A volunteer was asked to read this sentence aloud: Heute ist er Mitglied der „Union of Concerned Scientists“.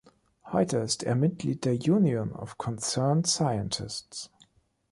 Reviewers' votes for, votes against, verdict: 2, 0, accepted